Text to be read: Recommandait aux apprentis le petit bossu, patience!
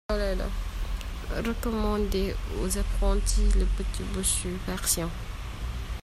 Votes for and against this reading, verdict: 0, 2, rejected